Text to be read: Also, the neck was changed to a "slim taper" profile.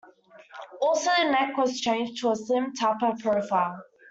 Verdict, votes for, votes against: rejected, 1, 2